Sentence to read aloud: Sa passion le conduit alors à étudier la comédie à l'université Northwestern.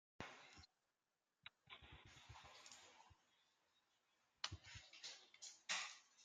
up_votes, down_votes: 0, 2